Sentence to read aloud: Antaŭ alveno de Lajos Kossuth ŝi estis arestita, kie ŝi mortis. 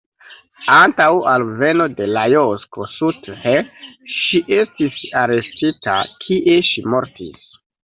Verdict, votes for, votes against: rejected, 0, 2